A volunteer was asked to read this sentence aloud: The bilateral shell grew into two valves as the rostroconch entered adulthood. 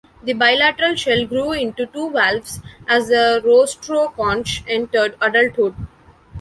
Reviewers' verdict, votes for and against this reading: accepted, 2, 0